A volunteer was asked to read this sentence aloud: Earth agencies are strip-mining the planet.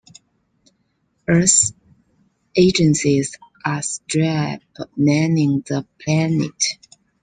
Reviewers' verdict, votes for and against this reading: rejected, 0, 2